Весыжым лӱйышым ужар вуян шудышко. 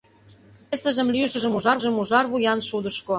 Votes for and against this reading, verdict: 0, 2, rejected